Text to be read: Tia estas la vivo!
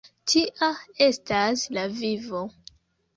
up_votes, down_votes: 2, 0